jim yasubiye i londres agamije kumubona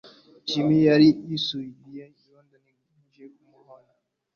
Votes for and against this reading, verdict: 0, 2, rejected